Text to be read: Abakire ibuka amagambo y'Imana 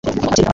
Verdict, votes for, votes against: rejected, 0, 2